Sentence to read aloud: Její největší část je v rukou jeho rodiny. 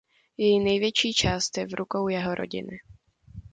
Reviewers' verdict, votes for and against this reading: accepted, 2, 0